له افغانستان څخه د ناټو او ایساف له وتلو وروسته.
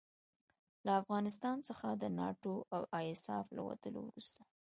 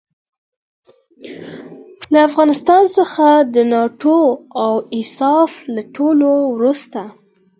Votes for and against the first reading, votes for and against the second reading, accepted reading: 1, 2, 4, 0, second